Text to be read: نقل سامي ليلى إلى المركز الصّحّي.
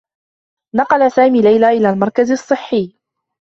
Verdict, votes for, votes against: accepted, 2, 0